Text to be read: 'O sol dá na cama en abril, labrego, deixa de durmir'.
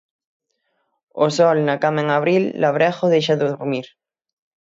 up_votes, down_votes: 0, 6